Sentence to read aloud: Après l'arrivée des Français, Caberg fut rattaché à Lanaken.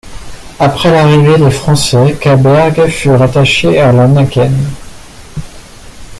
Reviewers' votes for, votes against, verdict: 2, 1, accepted